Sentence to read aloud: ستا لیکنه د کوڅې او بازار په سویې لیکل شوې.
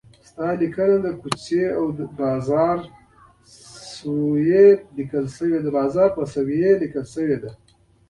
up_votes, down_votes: 0, 2